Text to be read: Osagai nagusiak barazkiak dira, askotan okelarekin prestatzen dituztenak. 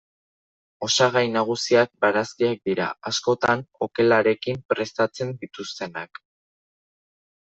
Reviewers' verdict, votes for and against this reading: accepted, 2, 0